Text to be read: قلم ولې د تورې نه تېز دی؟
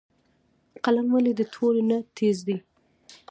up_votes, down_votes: 0, 2